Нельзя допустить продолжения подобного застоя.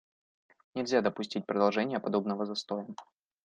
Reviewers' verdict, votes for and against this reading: accepted, 2, 0